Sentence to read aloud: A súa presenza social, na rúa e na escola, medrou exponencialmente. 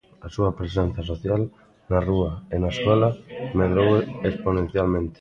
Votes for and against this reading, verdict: 1, 2, rejected